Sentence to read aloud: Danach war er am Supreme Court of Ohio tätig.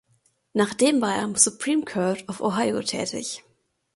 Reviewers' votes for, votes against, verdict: 0, 2, rejected